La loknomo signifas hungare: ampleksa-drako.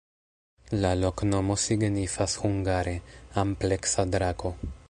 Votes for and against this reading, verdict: 2, 0, accepted